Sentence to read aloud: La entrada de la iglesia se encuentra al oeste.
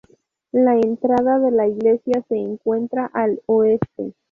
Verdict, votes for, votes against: rejected, 2, 2